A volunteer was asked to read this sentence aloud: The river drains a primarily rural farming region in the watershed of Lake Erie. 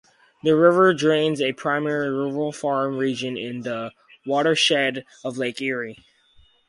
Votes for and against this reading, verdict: 0, 2, rejected